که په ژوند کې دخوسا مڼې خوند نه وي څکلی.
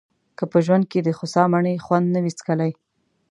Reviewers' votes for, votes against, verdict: 2, 0, accepted